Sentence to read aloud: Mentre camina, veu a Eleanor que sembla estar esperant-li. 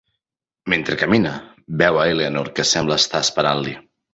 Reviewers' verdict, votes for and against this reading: accepted, 3, 0